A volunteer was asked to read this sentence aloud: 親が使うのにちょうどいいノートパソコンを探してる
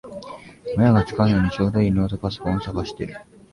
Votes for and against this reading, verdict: 1, 2, rejected